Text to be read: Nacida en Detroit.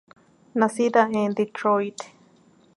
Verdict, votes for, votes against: accepted, 2, 0